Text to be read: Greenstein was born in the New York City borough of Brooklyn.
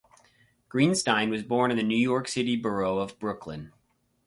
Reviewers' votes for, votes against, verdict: 4, 0, accepted